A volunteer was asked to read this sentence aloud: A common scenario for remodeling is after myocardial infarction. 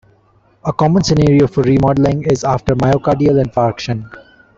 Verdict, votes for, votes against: rejected, 0, 2